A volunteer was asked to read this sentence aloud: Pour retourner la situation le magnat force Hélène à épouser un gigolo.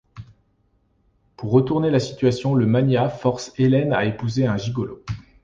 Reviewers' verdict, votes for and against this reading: accepted, 2, 1